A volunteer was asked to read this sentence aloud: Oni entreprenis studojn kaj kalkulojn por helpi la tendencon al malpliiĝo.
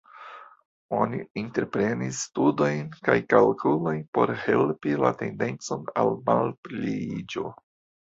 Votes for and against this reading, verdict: 0, 2, rejected